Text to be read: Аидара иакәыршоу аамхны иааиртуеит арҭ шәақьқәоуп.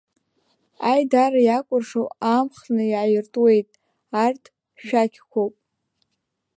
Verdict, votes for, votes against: accepted, 2, 0